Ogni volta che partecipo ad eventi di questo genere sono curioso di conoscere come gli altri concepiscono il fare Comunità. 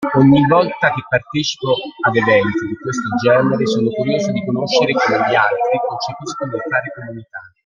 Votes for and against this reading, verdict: 1, 2, rejected